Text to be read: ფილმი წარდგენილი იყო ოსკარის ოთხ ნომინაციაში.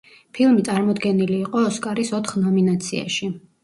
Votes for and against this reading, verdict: 1, 2, rejected